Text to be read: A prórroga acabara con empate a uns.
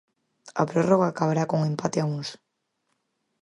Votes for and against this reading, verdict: 0, 4, rejected